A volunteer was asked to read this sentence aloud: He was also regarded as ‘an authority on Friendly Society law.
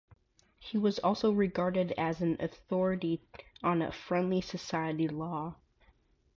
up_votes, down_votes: 2, 0